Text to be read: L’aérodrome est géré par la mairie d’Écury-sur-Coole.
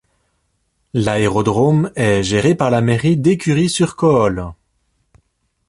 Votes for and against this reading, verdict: 2, 0, accepted